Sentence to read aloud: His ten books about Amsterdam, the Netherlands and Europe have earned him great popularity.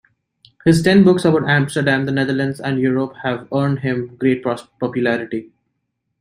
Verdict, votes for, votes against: rejected, 1, 2